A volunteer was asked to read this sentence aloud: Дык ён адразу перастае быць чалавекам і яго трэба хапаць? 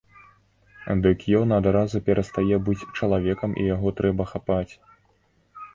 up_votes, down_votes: 2, 0